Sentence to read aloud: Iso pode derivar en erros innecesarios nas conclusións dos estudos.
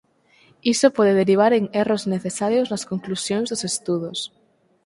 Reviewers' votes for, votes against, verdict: 2, 4, rejected